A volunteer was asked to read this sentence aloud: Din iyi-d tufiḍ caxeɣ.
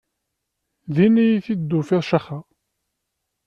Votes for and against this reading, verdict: 0, 2, rejected